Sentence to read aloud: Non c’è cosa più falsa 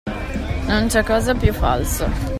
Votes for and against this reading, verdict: 2, 0, accepted